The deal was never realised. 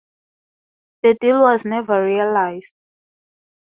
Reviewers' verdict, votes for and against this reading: accepted, 2, 0